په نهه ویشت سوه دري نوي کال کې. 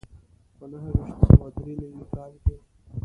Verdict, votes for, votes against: rejected, 1, 2